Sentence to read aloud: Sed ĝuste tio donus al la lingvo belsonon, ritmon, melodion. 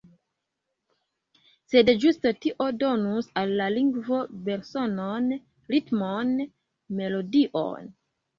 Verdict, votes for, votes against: accepted, 2, 1